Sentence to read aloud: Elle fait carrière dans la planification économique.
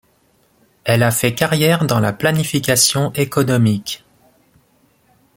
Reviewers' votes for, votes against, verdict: 0, 2, rejected